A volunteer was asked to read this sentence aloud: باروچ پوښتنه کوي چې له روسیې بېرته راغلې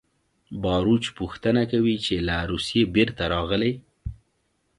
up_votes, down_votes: 2, 0